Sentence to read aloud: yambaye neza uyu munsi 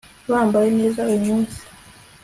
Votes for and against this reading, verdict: 2, 0, accepted